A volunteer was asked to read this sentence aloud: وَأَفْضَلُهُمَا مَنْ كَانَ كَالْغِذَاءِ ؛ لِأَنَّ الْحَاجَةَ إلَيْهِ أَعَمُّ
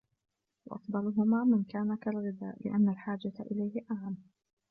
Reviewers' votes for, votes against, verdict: 2, 0, accepted